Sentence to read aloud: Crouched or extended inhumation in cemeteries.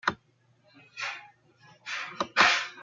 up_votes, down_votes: 0, 2